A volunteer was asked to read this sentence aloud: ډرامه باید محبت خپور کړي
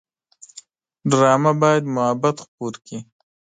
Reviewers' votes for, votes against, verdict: 2, 0, accepted